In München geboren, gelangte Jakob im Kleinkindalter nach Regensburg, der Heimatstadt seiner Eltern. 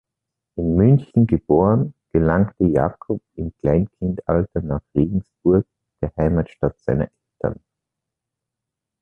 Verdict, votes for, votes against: rejected, 1, 2